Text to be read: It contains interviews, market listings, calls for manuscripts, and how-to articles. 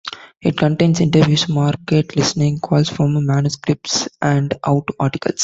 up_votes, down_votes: 0, 2